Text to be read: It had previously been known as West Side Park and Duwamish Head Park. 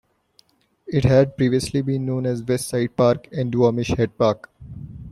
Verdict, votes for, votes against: accepted, 2, 1